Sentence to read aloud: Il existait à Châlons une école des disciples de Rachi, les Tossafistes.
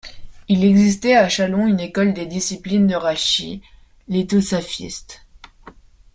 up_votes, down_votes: 2, 1